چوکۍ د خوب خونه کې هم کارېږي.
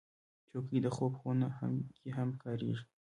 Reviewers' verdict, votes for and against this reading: accepted, 2, 0